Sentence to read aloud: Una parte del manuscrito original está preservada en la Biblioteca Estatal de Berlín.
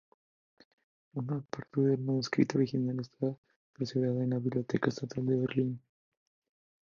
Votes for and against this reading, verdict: 0, 2, rejected